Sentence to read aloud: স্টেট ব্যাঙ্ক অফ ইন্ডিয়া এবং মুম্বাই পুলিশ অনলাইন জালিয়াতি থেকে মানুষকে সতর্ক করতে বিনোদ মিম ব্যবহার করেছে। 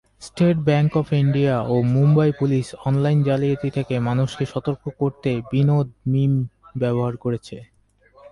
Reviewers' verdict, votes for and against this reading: rejected, 2, 2